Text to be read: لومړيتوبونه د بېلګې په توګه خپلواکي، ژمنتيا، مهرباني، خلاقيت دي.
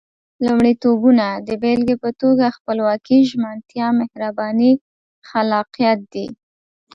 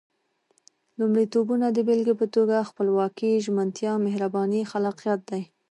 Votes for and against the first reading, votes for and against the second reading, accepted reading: 2, 0, 1, 2, first